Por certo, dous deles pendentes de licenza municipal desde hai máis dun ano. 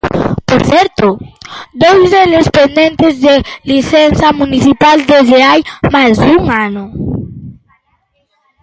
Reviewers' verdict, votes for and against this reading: rejected, 1, 2